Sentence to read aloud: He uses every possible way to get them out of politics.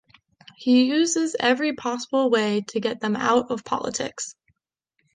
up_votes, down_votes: 2, 0